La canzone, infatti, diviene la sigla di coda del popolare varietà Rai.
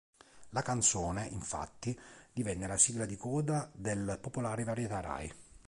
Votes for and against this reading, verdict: 1, 3, rejected